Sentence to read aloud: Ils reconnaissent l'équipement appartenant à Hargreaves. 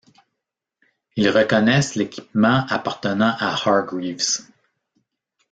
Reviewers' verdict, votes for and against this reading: rejected, 0, 2